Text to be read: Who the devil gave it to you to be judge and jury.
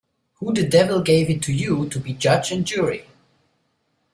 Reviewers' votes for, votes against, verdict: 2, 0, accepted